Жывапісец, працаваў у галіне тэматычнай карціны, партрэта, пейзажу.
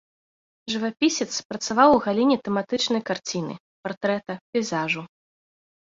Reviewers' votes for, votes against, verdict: 2, 0, accepted